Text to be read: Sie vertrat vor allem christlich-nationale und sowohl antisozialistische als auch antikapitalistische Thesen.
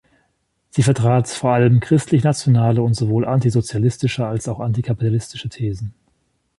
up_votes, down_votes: 0, 2